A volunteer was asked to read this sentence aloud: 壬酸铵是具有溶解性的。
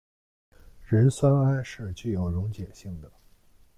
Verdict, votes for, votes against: accepted, 2, 0